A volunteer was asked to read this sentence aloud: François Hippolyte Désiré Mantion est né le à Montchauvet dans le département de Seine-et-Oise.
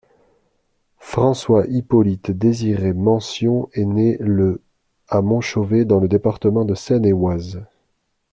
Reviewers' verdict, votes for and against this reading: accepted, 2, 0